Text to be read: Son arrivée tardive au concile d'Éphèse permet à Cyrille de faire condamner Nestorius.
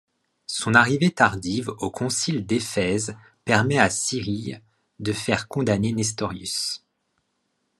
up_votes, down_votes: 2, 0